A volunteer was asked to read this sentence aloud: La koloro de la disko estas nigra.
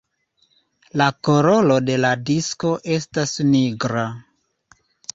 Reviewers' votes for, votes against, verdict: 1, 2, rejected